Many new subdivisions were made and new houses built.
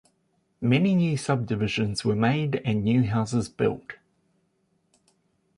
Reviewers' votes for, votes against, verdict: 2, 0, accepted